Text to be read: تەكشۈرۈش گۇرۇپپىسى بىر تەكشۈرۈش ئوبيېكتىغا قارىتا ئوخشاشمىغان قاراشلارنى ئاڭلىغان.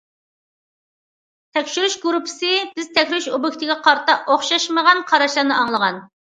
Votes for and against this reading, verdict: 0, 2, rejected